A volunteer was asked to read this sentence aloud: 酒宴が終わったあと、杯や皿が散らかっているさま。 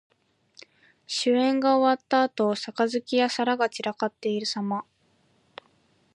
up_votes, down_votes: 2, 0